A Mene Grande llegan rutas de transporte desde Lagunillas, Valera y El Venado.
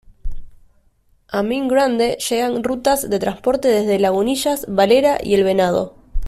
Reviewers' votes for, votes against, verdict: 2, 0, accepted